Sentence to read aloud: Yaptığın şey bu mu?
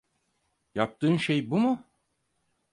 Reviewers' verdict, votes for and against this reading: accepted, 4, 0